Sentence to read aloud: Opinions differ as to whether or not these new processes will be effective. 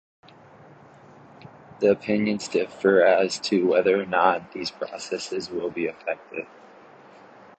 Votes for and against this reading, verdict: 0, 2, rejected